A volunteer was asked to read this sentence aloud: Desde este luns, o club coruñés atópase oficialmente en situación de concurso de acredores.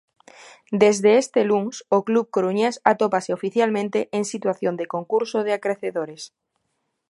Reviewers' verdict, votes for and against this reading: rejected, 0, 2